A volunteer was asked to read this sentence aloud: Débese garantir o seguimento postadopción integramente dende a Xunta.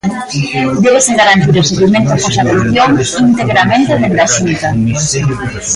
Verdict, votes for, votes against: rejected, 1, 2